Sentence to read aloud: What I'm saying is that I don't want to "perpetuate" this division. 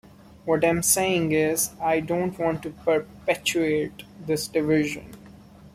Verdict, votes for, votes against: rejected, 1, 2